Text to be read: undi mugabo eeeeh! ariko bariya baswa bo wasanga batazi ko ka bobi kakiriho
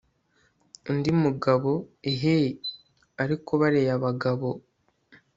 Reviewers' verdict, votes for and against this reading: rejected, 0, 2